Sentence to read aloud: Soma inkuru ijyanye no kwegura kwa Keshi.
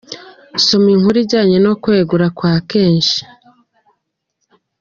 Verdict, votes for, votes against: accepted, 2, 1